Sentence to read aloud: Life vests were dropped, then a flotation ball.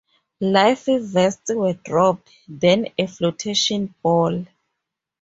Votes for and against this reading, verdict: 2, 0, accepted